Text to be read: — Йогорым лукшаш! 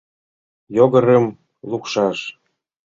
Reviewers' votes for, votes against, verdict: 0, 2, rejected